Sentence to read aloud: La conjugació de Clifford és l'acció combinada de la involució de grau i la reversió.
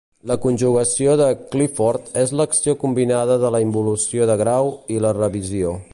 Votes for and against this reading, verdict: 1, 2, rejected